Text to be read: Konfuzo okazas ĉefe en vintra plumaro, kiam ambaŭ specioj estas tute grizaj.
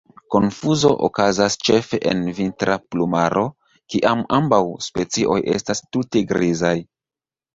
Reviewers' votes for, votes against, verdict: 1, 2, rejected